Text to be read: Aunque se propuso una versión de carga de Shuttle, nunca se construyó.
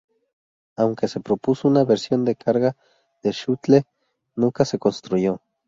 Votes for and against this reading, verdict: 2, 0, accepted